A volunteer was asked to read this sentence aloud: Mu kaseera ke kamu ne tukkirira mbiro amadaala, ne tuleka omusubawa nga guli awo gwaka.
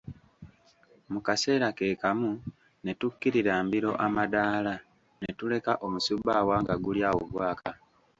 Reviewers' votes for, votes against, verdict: 1, 2, rejected